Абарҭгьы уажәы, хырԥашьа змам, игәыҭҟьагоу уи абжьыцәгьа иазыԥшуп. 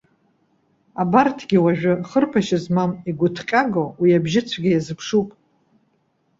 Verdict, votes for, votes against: accepted, 2, 0